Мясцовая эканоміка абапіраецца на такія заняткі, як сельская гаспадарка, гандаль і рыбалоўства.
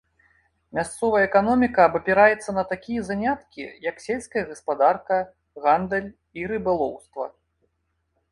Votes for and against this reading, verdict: 2, 0, accepted